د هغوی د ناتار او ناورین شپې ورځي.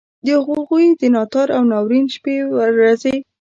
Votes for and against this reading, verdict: 0, 2, rejected